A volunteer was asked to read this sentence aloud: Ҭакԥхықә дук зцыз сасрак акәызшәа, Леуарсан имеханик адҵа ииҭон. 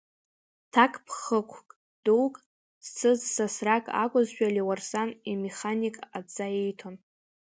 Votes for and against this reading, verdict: 0, 2, rejected